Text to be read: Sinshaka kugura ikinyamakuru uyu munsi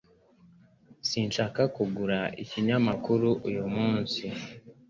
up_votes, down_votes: 2, 0